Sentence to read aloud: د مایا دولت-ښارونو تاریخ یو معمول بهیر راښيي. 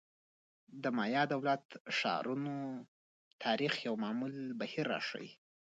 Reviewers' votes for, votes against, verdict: 1, 2, rejected